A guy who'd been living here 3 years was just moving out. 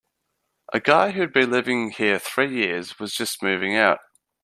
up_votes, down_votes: 0, 2